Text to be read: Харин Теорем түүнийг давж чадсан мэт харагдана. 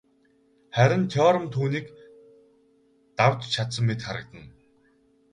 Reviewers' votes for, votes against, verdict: 2, 2, rejected